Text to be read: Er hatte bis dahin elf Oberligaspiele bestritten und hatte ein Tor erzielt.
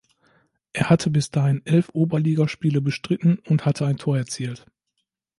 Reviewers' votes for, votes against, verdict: 2, 0, accepted